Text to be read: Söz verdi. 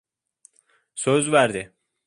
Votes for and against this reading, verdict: 2, 0, accepted